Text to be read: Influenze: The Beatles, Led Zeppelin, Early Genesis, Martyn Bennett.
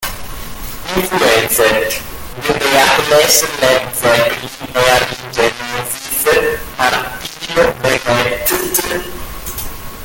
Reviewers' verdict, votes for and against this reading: rejected, 0, 2